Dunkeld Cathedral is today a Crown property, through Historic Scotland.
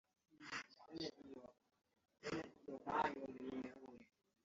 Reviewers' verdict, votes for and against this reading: rejected, 0, 2